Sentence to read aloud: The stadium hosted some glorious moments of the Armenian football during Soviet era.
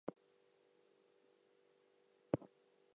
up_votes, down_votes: 0, 2